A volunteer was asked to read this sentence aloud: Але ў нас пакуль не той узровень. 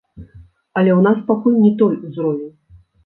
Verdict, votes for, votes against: accepted, 2, 0